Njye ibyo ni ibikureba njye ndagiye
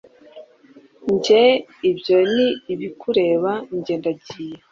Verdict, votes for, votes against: accepted, 2, 0